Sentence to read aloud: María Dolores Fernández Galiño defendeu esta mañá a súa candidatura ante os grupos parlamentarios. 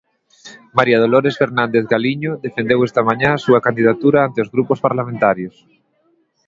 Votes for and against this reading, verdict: 2, 1, accepted